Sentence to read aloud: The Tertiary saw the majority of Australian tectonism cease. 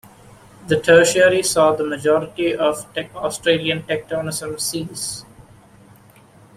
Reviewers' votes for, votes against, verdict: 0, 2, rejected